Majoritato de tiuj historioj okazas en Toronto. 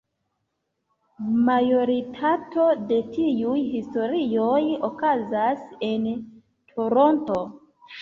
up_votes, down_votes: 2, 1